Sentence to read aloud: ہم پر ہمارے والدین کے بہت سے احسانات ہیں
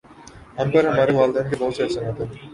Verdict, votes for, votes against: rejected, 0, 2